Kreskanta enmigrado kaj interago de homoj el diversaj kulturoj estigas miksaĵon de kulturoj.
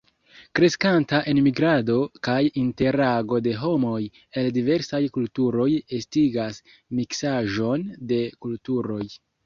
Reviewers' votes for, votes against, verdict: 1, 2, rejected